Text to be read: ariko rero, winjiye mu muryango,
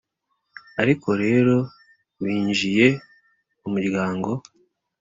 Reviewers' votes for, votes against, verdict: 2, 0, accepted